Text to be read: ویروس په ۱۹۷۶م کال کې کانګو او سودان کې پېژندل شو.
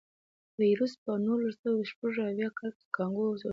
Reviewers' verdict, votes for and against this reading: rejected, 0, 2